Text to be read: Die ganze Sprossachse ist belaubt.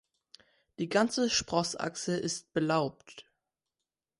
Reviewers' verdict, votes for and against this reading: accepted, 2, 0